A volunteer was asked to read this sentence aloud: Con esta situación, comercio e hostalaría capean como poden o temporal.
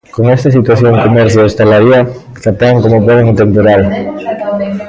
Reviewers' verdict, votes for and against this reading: accepted, 2, 0